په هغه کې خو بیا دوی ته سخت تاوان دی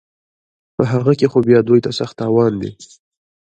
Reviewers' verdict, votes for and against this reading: rejected, 1, 2